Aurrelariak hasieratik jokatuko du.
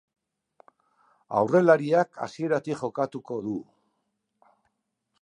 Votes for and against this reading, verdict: 2, 0, accepted